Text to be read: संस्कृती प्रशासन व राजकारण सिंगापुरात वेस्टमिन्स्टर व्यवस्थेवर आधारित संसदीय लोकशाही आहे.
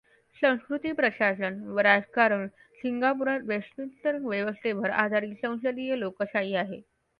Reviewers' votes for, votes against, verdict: 2, 0, accepted